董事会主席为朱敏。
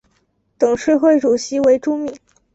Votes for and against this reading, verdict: 2, 0, accepted